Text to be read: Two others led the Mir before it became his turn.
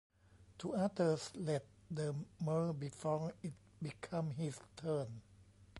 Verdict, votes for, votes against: rejected, 1, 2